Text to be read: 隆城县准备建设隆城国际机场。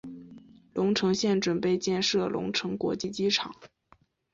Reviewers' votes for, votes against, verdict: 1, 2, rejected